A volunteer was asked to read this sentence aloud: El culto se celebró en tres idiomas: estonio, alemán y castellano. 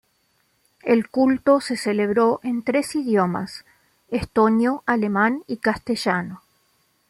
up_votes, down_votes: 2, 0